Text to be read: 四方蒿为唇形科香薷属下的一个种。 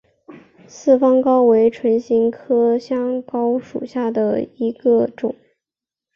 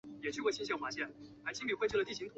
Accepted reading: first